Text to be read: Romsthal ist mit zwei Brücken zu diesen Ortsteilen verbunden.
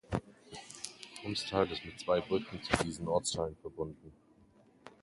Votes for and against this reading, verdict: 1, 2, rejected